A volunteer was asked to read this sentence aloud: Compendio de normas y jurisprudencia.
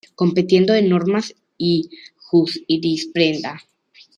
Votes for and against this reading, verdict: 0, 2, rejected